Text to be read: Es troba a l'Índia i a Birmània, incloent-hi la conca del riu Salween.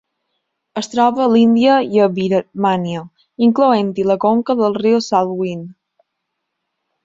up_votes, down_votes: 1, 2